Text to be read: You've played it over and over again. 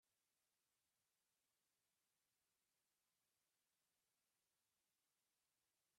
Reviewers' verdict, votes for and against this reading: rejected, 0, 2